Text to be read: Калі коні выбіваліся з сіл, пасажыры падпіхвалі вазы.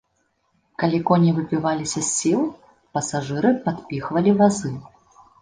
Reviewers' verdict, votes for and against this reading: accepted, 2, 0